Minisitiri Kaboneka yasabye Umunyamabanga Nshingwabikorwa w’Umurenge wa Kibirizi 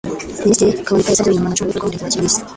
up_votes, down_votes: 0, 2